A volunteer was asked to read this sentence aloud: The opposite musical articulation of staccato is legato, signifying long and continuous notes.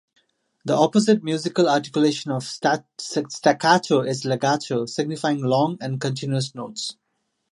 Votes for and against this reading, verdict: 0, 2, rejected